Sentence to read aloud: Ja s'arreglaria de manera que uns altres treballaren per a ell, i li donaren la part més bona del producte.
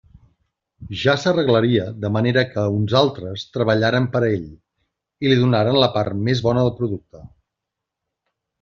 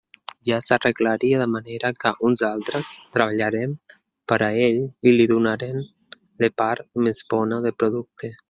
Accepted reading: first